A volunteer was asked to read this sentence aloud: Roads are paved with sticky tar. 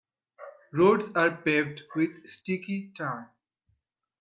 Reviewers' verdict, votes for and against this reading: accepted, 2, 1